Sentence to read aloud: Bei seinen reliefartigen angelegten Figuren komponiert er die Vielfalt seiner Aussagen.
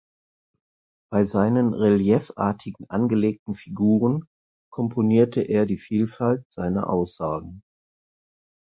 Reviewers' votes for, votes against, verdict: 0, 4, rejected